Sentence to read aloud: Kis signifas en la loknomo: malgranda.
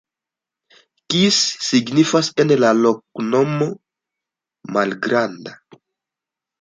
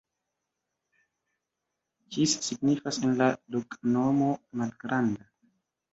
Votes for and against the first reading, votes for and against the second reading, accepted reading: 2, 0, 0, 2, first